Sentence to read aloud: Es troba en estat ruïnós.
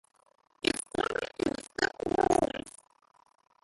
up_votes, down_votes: 0, 3